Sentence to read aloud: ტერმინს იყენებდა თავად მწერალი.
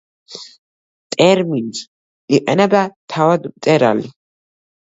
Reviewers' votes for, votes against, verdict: 0, 2, rejected